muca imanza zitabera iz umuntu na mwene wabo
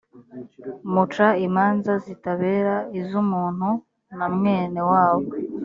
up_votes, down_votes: 2, 0